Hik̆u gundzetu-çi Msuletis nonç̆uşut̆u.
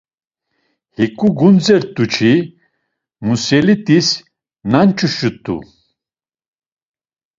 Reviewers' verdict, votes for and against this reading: accepted, 2, 1